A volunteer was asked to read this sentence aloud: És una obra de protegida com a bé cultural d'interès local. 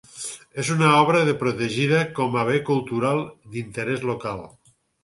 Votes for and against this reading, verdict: 6, 0, accepted